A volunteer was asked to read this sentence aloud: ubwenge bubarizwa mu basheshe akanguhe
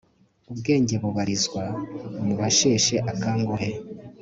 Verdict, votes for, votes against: accepted, 2, 0